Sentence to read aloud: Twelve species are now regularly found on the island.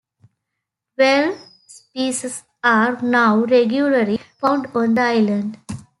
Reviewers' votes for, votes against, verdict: 2, 0, accepted